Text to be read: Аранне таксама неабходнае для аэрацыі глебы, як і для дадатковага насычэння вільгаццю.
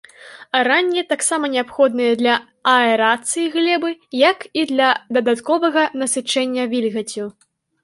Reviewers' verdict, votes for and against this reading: accepted, 2, 0